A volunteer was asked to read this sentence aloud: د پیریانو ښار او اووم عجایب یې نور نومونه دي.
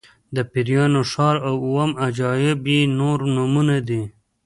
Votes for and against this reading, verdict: 2, 0, accepted